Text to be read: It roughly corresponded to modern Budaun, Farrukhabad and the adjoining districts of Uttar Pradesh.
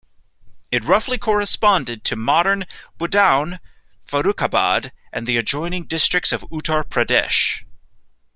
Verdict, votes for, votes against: accepted, 2, 0